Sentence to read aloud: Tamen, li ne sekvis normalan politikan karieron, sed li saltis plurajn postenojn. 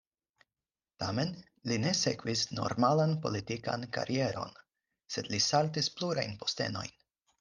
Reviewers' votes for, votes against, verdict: 4, 0, accepted